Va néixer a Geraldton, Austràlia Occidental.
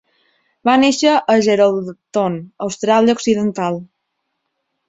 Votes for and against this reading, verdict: 2, 1, accepted